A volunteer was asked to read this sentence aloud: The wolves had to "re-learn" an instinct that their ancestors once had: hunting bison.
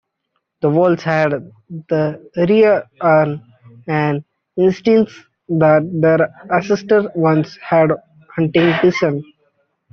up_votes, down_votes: 0, 2